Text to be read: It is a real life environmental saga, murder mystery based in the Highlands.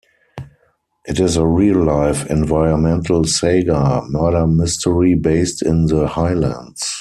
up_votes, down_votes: 2, 4